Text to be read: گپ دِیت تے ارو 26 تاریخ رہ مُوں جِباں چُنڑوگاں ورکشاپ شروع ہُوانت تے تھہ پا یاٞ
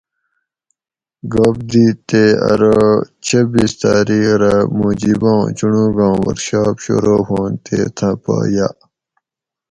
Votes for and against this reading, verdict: 0, 2, rejected